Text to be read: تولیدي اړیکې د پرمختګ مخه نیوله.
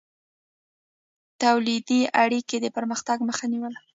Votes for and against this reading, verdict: 0, 2, rejected